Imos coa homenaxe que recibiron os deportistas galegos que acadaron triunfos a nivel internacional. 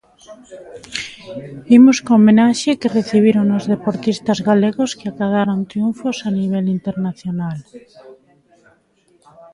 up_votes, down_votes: 2, 1